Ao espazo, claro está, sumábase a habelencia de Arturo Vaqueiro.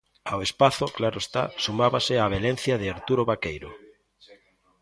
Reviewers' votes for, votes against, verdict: 0, 2, rejected